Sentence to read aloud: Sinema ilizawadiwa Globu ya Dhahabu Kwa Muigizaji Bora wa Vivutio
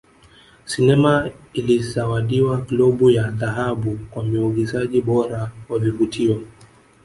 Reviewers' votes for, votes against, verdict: 1, 2, rejected